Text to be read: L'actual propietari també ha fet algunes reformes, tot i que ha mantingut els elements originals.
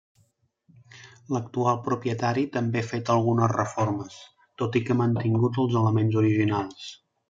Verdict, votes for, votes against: rejected, 1, 2